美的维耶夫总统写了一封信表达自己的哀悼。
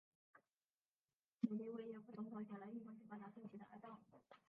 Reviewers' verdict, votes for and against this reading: rejected, 0, 2